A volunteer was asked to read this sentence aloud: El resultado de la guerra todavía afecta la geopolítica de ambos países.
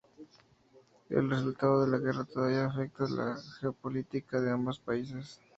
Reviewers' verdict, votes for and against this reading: rejected, 0, 2